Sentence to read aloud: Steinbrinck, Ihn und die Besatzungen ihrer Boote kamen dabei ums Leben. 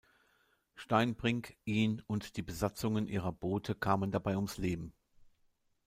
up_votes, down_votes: 2, 0